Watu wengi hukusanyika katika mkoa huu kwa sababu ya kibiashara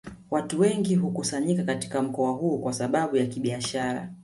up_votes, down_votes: 2, 1